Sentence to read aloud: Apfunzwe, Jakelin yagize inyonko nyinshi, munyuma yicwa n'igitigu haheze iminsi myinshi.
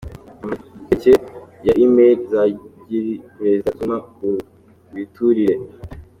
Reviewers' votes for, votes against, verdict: 0, 2, rejected